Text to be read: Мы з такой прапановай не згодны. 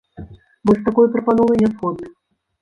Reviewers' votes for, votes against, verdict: 1, 2, rejected